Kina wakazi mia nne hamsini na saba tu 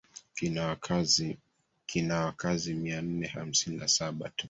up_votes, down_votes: 1, 2